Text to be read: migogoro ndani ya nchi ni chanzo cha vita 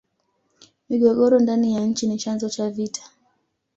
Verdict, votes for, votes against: accepted, 2, 0